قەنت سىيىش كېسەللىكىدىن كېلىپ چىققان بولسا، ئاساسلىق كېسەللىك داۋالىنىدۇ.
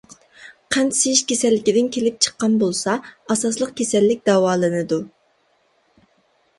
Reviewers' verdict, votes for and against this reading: accepted, 2, 1